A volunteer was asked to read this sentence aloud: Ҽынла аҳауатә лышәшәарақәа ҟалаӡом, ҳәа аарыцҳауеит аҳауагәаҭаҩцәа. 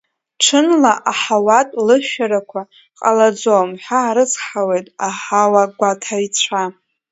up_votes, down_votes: 2, 3